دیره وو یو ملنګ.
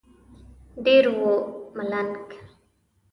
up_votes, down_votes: 1, 3